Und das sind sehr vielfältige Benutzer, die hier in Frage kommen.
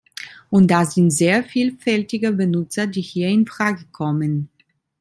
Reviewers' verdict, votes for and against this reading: accepted, 2, 1